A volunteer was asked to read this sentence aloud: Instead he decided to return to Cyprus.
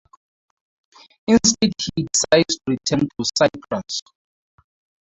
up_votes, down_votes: 0, 4